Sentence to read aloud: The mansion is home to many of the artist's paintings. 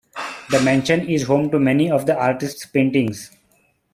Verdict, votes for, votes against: accepted, 2, 0